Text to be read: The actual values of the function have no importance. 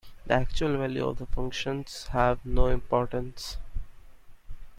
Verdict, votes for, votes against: rejected, 0, 2